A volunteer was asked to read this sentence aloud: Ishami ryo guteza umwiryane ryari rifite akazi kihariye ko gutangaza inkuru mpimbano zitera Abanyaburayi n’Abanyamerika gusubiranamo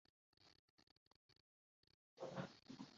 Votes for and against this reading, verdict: 0, 2, rejected